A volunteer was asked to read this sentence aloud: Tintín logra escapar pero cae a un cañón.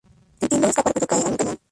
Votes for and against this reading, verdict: 0, 2, rejected